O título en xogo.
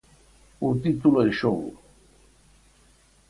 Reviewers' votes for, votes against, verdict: 4, 0, accepted